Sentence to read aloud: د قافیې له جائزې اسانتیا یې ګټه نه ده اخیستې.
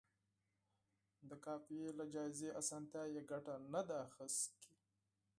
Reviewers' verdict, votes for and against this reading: accepted, 4, 0